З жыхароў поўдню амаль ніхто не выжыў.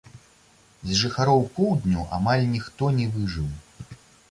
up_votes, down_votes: 2, 0